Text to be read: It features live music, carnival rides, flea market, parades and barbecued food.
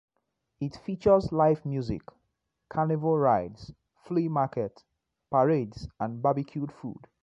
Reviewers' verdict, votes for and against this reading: rejected, 1, 2